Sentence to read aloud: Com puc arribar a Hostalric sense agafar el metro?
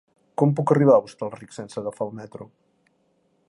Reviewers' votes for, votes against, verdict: 3, 0, accepted